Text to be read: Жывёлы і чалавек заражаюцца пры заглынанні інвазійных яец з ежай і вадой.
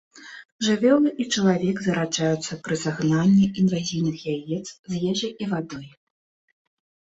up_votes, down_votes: 0, 3